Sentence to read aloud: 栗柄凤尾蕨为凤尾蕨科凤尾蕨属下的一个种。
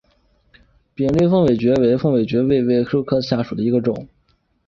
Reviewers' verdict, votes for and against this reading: rejected, 0, 2